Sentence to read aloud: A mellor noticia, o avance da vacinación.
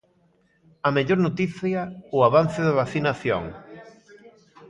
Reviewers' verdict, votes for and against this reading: rejected, 1, 2